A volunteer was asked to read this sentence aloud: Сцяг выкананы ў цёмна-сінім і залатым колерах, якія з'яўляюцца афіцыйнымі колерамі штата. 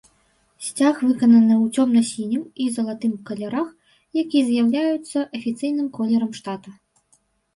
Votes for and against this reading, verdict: 1, 3, rejected